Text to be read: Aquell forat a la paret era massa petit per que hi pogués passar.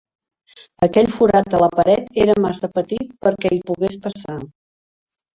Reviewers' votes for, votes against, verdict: 2, 1, accepted